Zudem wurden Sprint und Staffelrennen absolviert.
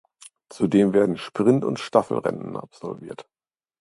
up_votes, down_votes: 1, 2